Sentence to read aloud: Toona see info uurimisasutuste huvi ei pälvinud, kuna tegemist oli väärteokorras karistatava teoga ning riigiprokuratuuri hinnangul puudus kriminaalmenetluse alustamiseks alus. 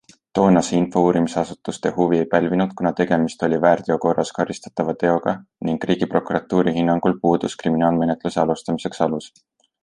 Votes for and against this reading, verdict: 2, 0, accepted